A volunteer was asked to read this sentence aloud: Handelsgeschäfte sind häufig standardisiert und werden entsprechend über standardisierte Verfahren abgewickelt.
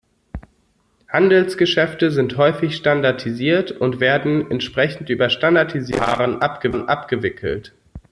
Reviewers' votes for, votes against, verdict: 0, 2, rejected